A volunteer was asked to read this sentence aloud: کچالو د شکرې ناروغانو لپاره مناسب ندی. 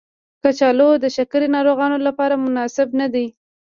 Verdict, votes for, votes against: rejected, 1, 2